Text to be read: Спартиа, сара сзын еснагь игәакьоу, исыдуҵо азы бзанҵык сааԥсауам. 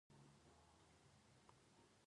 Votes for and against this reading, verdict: 0, 2, rejected